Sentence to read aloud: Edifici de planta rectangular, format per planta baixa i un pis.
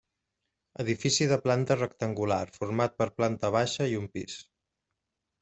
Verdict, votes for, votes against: accepted, 3, 0